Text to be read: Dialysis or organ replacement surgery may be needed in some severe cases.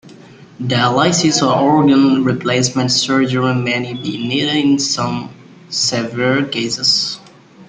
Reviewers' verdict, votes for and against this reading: rejected, 0, 2